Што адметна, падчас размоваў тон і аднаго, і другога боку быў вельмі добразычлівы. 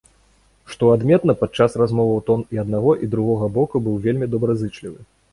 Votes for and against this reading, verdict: 0, 2, rejected